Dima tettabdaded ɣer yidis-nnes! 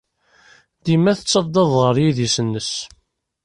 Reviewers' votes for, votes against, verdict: 0, 3, rejected